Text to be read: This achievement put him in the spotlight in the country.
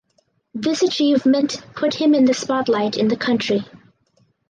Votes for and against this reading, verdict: 4, 0, accepted